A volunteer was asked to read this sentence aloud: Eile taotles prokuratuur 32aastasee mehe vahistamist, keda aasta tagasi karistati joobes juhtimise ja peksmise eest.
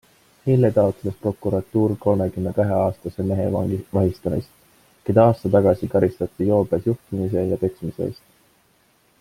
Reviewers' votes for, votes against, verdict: 0, 2, rejected